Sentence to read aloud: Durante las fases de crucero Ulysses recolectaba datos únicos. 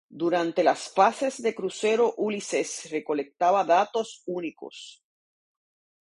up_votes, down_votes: 0, 2